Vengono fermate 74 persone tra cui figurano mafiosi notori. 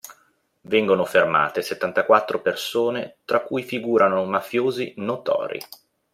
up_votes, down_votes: 0, 2